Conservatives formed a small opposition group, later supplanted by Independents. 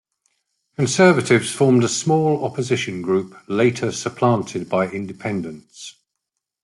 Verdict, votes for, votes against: accepted, 2, 0